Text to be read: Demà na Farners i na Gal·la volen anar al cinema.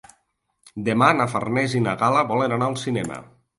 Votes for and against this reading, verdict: 2, 0, accepted